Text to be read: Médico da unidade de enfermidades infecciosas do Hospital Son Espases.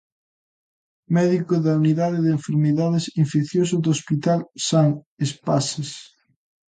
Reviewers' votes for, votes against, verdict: 0, 2, rejected